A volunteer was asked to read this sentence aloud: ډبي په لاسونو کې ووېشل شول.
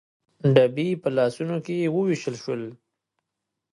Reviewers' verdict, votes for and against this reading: accepted, 3, 0